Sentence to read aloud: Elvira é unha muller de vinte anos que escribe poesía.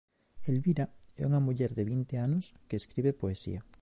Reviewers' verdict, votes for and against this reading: accepted, 2, 1